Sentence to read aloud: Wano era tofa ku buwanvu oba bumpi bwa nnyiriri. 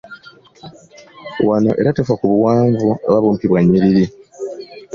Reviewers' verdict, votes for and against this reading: accepted, 3, 0